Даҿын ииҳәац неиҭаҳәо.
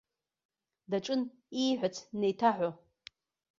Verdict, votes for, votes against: accepted, 2, 1